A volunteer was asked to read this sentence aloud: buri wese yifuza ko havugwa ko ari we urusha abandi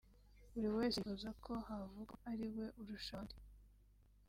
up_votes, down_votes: 1, 2